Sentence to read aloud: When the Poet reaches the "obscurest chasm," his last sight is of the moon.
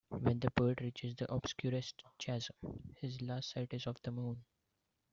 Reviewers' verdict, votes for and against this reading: accepted, 2, 1